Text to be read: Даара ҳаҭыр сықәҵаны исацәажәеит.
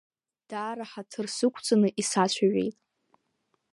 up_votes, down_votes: 2, 0